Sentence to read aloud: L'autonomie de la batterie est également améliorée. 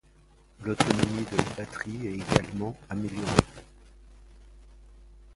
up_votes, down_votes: 0, 2